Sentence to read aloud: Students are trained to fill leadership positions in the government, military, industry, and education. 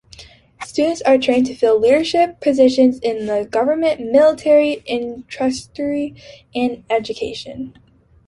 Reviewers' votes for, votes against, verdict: 1, 2, rejected